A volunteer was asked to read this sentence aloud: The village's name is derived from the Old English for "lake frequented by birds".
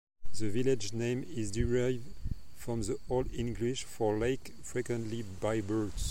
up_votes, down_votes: 2, 1